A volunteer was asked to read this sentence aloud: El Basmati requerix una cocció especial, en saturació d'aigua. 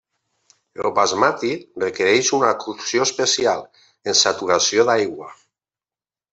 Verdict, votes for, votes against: accepted, 2, 0